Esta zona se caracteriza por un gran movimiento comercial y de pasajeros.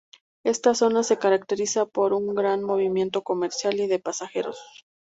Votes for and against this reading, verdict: 4, 0, accepted